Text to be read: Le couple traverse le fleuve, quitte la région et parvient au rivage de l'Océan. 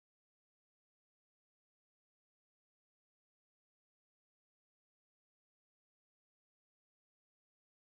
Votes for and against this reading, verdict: 0, 2, rejected